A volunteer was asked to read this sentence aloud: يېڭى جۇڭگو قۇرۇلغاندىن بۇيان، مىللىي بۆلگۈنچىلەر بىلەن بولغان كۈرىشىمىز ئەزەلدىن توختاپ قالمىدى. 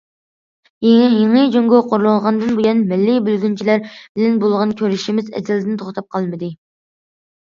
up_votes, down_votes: 0, 2